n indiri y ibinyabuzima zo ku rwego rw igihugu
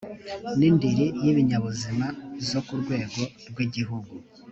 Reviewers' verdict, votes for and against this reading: accepted, 3, 0